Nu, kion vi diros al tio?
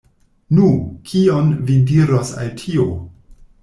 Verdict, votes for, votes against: rejected, 0, 2